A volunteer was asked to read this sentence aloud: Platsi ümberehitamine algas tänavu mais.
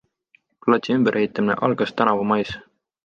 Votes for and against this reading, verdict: 2, 0, accepted